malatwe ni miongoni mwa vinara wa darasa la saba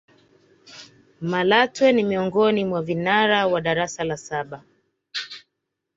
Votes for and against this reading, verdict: 2, 0, accepted